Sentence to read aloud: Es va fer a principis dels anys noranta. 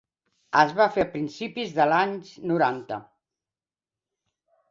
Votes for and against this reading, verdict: 0, 2, rejected